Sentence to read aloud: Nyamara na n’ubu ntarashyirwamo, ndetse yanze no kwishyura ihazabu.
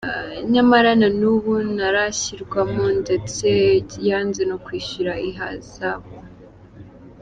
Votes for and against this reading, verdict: 2, 0, accepted